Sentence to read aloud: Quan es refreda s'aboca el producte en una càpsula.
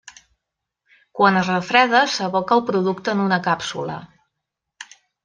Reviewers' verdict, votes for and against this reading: accepted, 3, 0